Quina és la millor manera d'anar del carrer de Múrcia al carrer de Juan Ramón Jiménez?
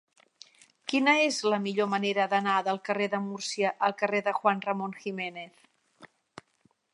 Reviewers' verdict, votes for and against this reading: accepted, 4, 0